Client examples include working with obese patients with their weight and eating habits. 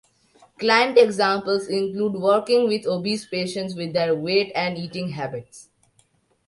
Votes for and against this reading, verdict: 2, 0, accepted